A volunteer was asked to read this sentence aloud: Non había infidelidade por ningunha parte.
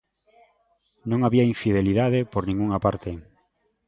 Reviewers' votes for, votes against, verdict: 2, 1, accepted